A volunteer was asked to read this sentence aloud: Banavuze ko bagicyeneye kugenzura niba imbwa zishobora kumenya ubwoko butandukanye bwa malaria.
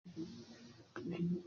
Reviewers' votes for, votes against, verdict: 0, 2, rejected